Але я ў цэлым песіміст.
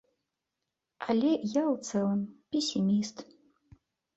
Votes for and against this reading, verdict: 3, 0, accepted